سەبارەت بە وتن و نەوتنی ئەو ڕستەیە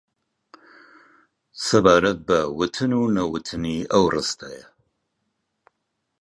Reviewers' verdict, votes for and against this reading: accepted, 2, 0